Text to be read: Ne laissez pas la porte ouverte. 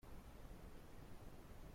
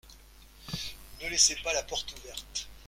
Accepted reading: second